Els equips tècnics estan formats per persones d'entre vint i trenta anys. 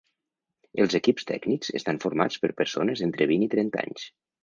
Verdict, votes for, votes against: accepted, 2, 0